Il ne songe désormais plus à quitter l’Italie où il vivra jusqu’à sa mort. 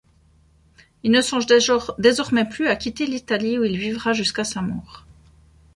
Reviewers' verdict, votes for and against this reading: rejected, 1, 2